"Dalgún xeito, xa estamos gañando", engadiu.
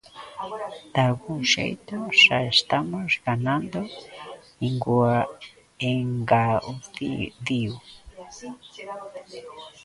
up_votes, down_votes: 0, 2